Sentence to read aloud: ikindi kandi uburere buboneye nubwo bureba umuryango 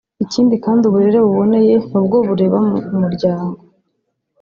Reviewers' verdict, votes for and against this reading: accepted, 2, 1